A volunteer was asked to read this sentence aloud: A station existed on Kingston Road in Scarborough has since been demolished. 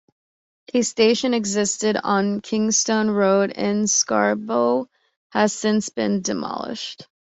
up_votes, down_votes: 1, 2